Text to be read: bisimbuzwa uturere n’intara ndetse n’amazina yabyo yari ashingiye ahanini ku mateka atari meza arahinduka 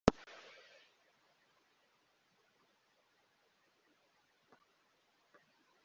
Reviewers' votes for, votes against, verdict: 1, 2, rejected